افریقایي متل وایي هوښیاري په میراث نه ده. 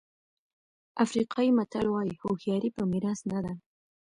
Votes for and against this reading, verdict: 2, 1, accepted